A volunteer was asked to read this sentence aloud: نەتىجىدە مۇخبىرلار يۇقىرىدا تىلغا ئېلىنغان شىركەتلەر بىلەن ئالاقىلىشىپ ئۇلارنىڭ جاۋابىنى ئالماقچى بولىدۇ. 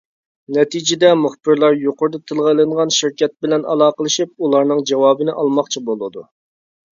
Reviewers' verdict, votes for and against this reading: rejected, 0, 2